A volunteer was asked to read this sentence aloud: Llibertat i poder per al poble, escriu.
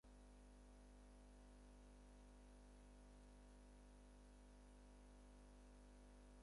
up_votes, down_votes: 0, 4